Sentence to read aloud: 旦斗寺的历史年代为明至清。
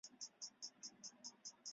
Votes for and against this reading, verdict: 1, 4, rejected